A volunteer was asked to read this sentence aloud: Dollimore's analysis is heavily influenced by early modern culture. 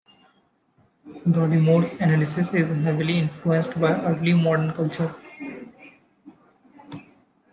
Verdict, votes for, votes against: accepted, 2, 0